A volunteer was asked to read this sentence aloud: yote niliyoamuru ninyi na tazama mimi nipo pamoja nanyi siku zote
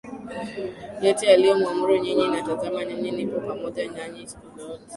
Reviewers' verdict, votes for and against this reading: rejected, 0, 2